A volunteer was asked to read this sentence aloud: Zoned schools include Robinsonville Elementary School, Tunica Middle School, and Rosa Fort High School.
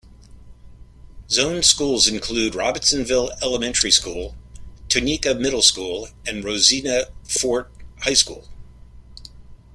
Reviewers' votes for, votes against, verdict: 0, 2, rejected